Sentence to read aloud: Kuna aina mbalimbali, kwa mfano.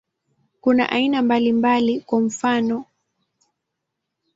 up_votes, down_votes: 2, 0